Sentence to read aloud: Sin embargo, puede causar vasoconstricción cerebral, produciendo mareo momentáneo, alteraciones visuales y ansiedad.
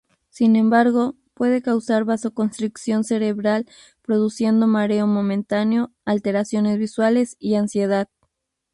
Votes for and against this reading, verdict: 4, 0, accepted